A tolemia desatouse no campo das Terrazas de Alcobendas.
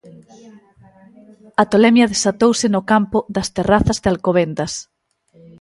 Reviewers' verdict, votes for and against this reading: rejected, 1, 2